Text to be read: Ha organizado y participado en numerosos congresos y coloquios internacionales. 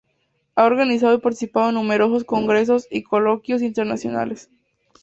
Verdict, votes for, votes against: accepted, 4, 0